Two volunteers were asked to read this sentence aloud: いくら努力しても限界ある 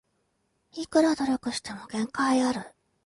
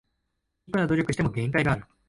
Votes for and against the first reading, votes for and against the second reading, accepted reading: 2, 0, 1, 2, first